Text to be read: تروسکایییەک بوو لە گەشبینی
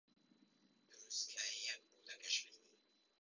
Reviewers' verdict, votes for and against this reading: rejected, 0, 2